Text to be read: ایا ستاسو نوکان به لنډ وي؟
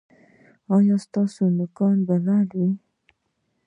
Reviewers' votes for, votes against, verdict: 2, 1, accepted